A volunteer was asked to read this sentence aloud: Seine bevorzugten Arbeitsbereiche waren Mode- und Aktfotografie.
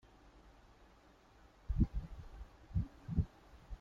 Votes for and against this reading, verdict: 0, 2, rejected